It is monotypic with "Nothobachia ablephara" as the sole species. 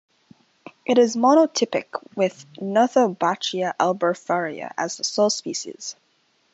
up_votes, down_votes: 2, 0